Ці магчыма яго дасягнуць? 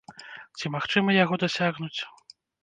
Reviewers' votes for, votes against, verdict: 1, 2, rejected